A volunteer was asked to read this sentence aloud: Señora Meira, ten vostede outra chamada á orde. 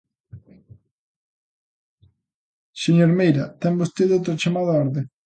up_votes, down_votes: 0, 2